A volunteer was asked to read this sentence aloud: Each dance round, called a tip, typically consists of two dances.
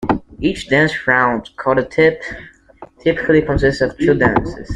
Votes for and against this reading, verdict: 2, 1, accepted